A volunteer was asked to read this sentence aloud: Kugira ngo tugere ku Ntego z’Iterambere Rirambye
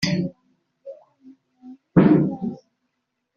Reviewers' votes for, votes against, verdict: 0, 2, rejected